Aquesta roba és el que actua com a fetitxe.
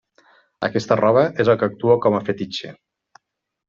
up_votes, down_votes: 3, 0